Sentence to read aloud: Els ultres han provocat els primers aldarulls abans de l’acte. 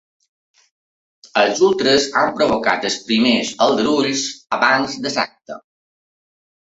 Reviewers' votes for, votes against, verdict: 0, 2, rejected